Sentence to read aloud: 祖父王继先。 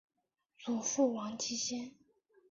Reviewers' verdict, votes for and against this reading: accepted, 2, 0